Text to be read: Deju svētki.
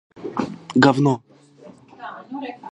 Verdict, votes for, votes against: rejected, 0, 2